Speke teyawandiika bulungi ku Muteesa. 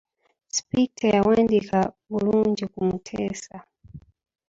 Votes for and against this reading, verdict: 1, 2, rejected